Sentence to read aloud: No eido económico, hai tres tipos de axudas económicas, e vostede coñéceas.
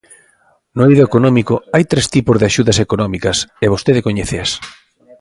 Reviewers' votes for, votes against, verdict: 2, 0, accepted